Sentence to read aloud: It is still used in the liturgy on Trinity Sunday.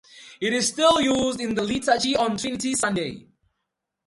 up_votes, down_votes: 2, 0